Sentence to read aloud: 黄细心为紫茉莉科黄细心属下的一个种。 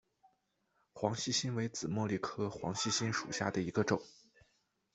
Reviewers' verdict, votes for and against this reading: accepted, 2, 0